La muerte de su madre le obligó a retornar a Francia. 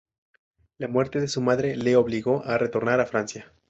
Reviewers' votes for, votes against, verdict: 0, 2, rejected